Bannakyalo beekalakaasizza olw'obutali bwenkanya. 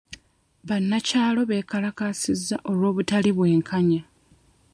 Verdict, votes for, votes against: accepted, 2, 0